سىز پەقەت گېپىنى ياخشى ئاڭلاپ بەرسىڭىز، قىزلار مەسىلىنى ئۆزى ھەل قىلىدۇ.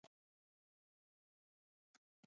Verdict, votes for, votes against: rejected, 1, 2